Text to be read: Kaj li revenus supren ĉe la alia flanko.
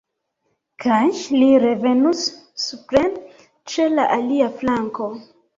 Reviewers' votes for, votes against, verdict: 0, 2, rejected